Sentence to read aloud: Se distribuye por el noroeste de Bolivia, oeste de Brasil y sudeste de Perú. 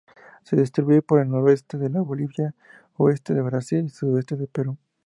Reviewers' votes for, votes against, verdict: 4, 0, accepted